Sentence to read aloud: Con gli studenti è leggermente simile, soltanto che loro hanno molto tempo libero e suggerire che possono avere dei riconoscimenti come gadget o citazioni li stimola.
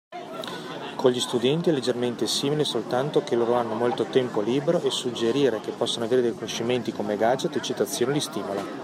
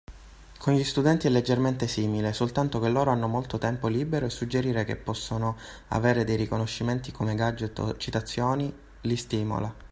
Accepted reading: second